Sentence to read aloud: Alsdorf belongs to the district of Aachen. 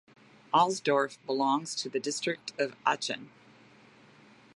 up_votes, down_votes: 2, 0